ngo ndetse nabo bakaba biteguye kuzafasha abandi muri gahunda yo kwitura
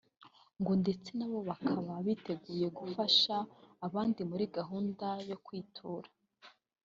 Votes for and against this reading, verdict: 1, 2, rejected